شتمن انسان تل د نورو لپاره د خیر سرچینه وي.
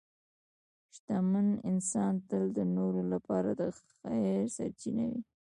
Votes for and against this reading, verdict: 0, 2, rejected